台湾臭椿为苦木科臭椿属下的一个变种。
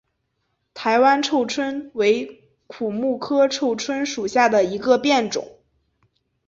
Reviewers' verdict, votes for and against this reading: accepted, 2, 0